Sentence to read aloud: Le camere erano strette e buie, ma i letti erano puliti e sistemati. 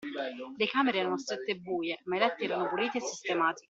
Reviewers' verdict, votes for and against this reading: accepted, 2, 0